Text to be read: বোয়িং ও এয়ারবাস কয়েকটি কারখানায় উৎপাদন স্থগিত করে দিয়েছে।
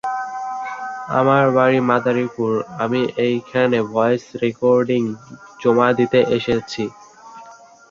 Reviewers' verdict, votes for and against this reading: rejected, 0, 2